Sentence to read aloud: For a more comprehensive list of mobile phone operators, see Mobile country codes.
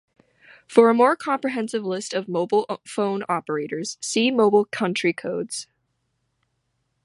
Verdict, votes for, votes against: rejected, 0, 2